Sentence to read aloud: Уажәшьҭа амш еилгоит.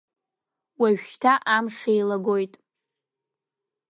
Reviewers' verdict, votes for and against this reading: rejected, 1, 2